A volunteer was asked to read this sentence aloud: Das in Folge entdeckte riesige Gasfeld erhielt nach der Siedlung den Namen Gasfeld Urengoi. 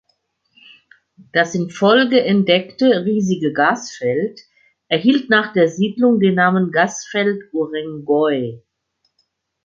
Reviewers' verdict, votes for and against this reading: accepted, 2, 0